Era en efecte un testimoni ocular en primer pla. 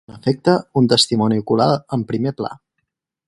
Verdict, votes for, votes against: rejected, 0, 4